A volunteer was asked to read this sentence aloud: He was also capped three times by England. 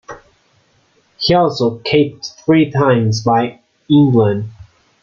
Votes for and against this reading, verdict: 0, 2, rejected